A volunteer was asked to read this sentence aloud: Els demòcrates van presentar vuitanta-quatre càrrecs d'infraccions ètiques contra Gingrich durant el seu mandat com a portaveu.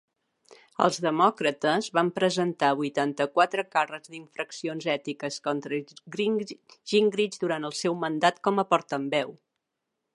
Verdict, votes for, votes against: rejected, 0, 2